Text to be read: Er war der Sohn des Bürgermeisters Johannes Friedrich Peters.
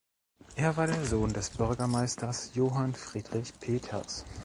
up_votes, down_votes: 0, 2